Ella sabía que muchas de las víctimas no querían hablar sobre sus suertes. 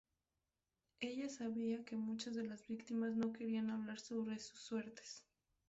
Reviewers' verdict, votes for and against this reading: rejected, 0, 2